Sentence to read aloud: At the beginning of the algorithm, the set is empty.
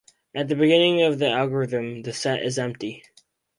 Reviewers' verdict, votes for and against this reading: accepted, 4, 0